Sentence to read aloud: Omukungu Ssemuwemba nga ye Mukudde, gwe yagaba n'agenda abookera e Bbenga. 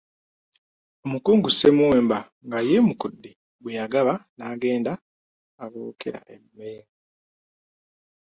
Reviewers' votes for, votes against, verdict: 1, 2, rejected